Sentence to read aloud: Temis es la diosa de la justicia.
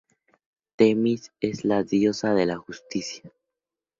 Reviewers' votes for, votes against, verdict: 4, 0, accepted